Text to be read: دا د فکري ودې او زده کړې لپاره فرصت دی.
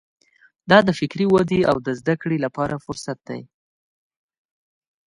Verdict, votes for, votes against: accepted, 2, 0